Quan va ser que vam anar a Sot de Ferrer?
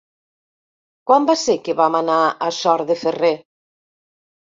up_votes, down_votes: 1, 3